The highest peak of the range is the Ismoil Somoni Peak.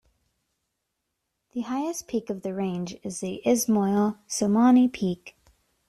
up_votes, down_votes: 2, 1